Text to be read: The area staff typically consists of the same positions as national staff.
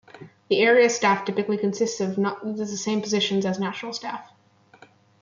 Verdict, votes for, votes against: rejected, 1, 2